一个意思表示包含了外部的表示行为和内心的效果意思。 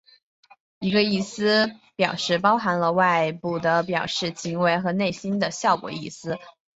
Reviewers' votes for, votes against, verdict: 6, 1, accepted